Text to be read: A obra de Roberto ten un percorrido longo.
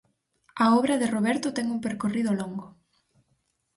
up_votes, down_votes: 4, 0